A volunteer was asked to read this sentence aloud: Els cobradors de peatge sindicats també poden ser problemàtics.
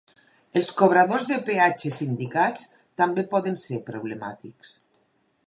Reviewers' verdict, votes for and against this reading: accepted, 4, 0